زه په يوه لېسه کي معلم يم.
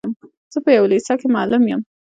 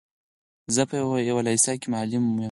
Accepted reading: second